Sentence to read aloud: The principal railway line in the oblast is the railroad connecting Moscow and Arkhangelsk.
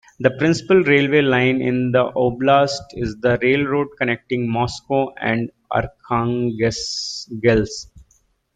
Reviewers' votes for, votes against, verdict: 0, 2, rejected